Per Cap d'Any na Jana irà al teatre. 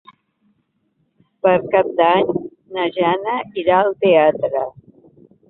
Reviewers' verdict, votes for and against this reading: accepted, 3, 0